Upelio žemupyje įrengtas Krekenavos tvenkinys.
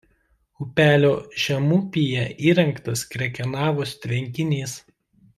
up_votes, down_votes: 1, 2